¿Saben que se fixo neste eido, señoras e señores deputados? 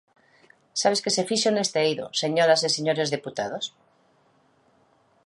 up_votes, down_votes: 0, 2